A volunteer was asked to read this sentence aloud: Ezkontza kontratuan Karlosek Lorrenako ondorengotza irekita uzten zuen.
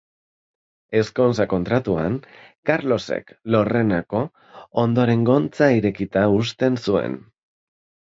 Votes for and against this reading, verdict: 0, 2, rejected